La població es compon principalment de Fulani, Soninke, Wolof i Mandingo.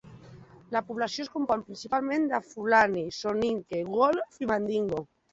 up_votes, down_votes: 2, 0